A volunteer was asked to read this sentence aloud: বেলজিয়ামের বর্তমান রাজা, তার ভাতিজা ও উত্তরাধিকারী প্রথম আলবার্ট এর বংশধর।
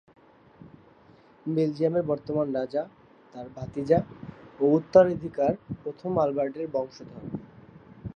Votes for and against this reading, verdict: 1, 2, rejected